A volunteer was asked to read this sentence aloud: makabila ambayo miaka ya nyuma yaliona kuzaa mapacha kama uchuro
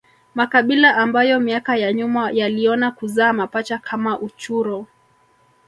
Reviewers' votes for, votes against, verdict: 1, 2, rejected